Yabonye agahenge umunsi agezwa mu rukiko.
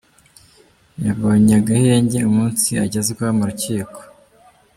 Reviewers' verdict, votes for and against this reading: accepted, 2, 1